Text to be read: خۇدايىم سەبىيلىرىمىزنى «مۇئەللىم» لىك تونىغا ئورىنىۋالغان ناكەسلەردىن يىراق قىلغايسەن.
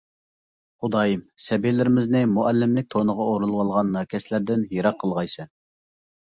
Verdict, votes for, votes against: accepted, 2, 0